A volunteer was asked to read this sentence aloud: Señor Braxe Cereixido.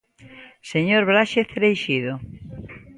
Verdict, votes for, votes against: accepted, 2, 1